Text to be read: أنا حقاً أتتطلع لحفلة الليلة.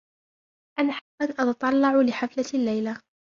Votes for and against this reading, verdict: 0, 2, rejected